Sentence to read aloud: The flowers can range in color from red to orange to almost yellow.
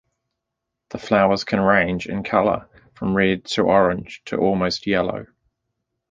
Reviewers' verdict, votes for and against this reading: accepted, 2, 0